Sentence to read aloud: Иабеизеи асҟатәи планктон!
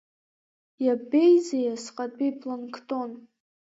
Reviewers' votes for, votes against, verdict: 2, 1, accepted